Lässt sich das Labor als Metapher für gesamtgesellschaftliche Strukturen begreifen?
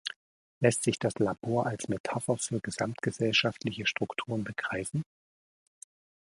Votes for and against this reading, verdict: 2, 0, accepted